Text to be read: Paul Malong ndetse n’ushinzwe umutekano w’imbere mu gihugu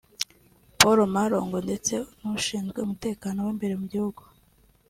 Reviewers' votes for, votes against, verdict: 2, 1, accepted